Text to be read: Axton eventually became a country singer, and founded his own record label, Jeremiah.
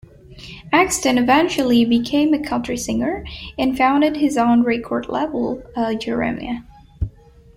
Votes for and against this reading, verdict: 2, 1, accepted